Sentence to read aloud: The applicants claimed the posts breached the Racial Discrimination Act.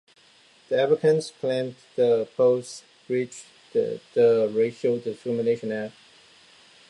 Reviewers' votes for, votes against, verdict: 0, 2, rejected